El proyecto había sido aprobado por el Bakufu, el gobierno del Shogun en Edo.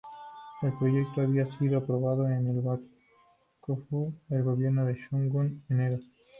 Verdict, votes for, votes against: accepted, 2, 0